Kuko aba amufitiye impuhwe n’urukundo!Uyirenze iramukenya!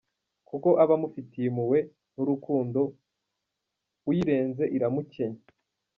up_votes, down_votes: 1, 2